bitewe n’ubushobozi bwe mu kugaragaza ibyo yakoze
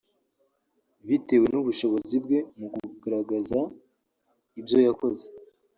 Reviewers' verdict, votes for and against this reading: accepted, 2, 0